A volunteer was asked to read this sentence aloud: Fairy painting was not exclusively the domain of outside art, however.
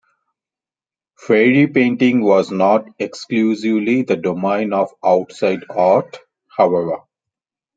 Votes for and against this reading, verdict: 0, 2, rejected